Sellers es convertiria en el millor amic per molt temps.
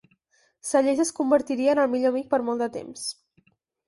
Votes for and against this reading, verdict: 0, 4, rejected